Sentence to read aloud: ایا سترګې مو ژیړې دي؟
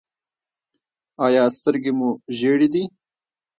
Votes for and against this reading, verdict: 1, 2, rejected